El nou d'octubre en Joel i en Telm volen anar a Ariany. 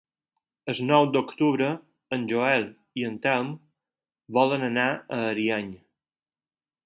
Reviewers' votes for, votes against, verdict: 0, 4, rejected